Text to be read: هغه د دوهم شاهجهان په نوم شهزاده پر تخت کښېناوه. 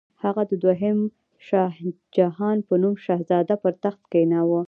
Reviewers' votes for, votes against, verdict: 0, 2, rejected